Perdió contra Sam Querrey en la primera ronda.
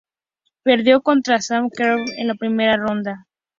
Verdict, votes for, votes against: accepted, 2, 0